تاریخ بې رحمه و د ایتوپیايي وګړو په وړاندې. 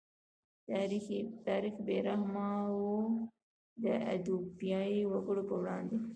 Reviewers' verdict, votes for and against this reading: rejected, 1, 2